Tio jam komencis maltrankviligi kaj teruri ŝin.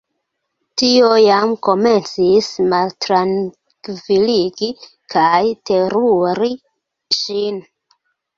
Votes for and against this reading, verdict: 2, 0, accepted